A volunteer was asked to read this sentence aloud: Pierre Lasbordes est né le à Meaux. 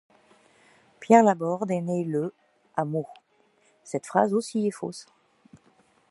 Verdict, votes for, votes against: rejected, 0, 2